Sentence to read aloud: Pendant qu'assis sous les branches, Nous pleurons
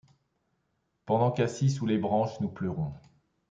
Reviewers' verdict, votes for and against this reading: accepted, 2, 0